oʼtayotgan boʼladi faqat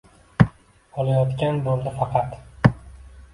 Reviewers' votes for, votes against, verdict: 1, 2, rejected